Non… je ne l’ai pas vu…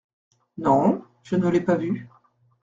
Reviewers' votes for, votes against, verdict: 2, 0, accepted